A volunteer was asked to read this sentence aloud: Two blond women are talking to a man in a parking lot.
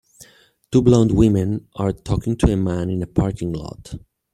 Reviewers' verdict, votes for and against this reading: rejected, 0, 2